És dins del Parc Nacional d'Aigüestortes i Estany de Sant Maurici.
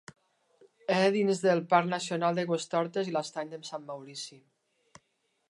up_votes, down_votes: 0, 2